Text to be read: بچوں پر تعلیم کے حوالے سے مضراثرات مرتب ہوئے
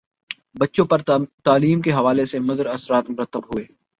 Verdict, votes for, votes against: rejected, 1, 2